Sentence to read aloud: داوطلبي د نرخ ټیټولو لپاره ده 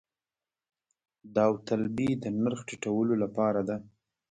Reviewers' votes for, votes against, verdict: 2, 0, accepted